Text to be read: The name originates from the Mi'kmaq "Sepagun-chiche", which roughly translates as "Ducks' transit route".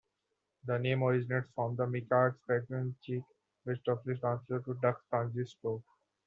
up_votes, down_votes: 0, 2